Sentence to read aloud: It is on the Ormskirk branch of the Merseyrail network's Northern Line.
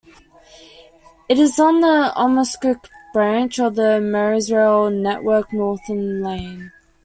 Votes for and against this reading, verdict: 1, 2, rejected